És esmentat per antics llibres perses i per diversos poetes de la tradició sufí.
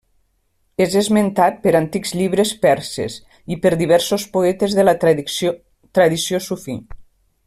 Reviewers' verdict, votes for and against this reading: rejected, 1, 2